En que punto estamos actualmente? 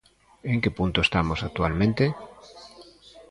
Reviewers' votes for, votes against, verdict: 3, 0, accepted